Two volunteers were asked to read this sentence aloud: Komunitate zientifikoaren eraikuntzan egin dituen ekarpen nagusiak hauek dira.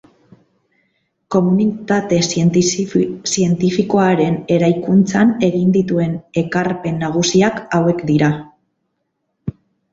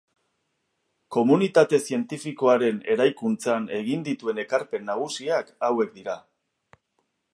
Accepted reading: second